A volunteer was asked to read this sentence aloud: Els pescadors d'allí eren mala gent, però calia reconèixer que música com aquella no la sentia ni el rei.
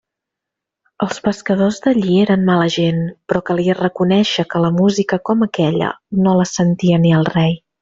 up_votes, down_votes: 0, 2